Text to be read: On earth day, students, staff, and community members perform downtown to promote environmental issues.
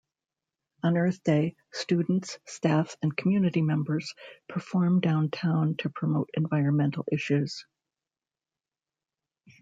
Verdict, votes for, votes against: accepted, 2, 0